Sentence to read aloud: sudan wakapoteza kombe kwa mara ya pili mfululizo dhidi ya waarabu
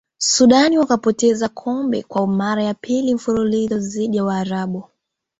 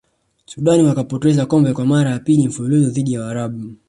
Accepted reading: first